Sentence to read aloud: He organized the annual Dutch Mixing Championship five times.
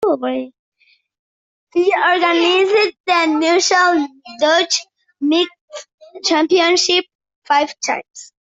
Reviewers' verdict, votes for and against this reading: rejected, 0, 2